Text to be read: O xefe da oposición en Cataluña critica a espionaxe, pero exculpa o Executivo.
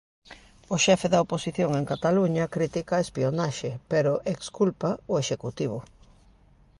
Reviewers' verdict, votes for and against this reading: accepted, 2, 0